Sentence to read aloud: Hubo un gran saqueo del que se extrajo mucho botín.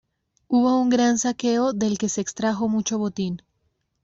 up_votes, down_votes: 2, 0